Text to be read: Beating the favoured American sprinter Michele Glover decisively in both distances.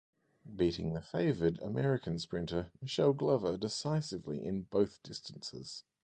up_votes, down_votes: 2, 2